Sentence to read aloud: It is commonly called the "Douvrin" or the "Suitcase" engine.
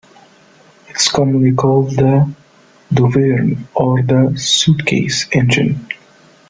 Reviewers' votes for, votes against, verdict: 2, 0, accepted